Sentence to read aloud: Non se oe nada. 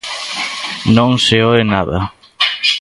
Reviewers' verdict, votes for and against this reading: accepted, 2, 0